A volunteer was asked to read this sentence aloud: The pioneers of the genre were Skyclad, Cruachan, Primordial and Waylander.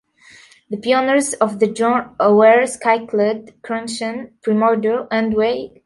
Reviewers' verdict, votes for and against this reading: rejected, 0, 2